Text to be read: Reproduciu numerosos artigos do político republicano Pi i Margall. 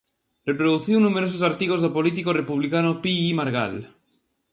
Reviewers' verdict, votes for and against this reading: accepted, 2, 0